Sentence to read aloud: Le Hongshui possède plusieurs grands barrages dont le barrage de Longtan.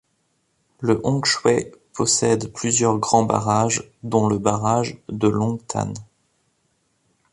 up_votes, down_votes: 1, 2